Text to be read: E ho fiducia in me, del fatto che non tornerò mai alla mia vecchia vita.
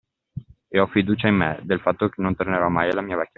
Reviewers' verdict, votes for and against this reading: rejected, 0, 2